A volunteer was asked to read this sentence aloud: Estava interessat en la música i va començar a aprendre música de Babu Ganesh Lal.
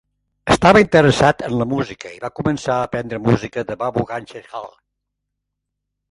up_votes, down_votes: 1, 2